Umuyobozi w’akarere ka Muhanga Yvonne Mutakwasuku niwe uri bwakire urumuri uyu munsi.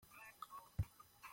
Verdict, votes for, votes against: rejected, 0, 2